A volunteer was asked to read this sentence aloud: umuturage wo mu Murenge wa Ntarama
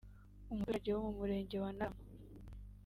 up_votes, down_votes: 2, 3